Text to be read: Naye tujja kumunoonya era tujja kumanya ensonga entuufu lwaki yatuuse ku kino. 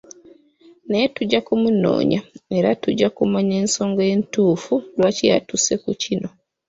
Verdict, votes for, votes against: accepted, 2, 0